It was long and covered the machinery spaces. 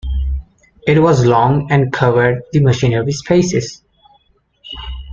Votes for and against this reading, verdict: 1, 2, rejected